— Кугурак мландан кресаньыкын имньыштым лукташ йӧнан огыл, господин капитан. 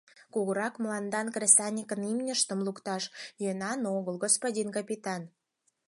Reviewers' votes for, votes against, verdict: 4, 0, accepted